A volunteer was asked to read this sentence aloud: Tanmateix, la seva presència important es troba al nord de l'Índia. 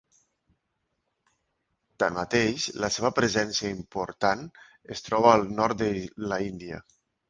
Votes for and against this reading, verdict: 1, 2, rejected